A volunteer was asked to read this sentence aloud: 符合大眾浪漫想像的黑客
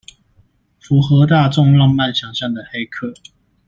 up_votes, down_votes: 2, 0